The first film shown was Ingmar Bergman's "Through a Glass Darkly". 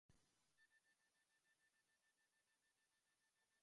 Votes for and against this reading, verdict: 0, 2, rejected